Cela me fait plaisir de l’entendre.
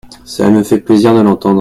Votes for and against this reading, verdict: 1, 2, rejected